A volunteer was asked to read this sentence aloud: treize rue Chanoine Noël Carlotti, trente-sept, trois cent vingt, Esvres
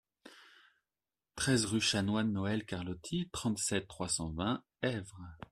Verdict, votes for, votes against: accepted, 2, 0